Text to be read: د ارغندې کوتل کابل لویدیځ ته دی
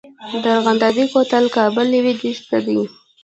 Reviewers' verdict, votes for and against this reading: rejected, 1, 2